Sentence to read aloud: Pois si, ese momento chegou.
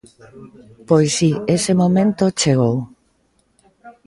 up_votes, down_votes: 1, 2